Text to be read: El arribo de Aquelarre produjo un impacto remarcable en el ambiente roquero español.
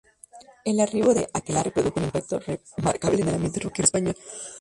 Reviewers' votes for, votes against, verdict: 0, 2, rejected